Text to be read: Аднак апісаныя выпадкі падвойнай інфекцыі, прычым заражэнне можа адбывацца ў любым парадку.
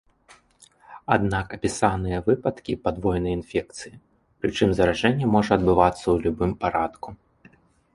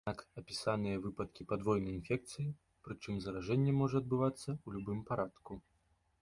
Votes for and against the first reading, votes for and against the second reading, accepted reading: 0, 2, 2, 1, second